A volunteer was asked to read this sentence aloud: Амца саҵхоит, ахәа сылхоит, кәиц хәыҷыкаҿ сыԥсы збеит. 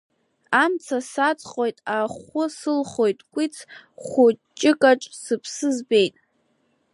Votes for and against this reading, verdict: 0, 2, rejected